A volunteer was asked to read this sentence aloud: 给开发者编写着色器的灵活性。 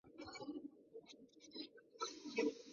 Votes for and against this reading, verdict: 0, 5, rejected